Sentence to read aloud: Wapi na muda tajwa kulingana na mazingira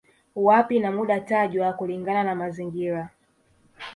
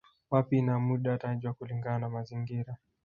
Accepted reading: first